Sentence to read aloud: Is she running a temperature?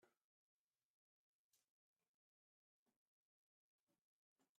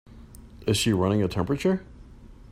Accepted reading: second